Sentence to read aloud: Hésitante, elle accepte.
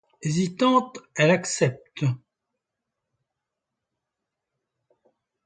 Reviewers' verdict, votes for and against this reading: accepted, 2, 0